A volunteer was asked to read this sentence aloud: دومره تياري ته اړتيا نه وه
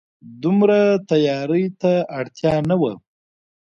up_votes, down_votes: 1, 2